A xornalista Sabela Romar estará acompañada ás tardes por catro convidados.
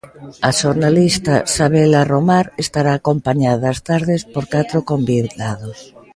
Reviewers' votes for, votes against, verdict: 2, 1, accepted